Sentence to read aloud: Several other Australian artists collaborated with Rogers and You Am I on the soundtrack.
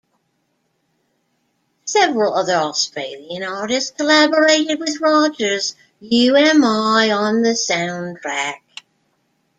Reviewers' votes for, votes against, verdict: 0, 2, rejected